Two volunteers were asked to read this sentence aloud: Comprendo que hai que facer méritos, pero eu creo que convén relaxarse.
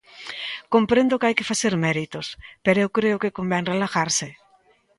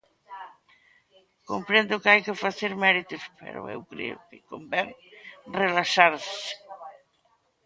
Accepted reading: second